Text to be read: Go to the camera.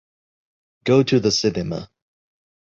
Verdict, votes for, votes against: rejected, 0, 2